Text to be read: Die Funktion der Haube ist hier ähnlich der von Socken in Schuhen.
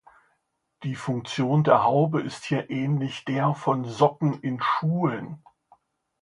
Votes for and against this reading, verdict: 2, 0, accepted